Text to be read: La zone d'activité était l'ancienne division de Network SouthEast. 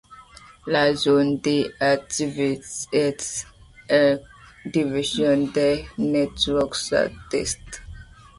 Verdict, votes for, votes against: accepted, 2, 0